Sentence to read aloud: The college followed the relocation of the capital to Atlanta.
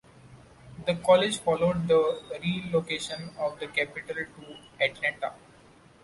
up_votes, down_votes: 1, 2